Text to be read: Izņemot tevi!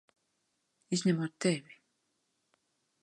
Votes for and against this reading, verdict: 2, 0, accepted